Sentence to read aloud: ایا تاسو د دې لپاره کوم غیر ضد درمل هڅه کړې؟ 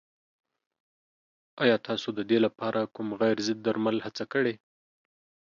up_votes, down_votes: 2, 0